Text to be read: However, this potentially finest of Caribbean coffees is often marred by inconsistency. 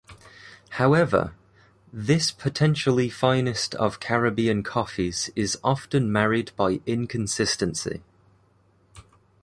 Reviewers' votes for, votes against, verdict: 1, 2, rejected